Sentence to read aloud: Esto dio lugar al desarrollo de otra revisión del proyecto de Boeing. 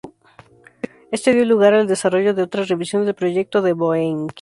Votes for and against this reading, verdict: 2, 0, accepted